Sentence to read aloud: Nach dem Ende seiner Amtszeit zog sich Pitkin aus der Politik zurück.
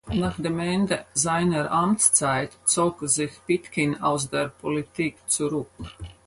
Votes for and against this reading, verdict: 2, 4, rejected